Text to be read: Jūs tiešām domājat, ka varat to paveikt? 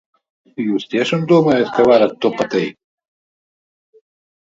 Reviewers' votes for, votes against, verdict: 0, 2, rejected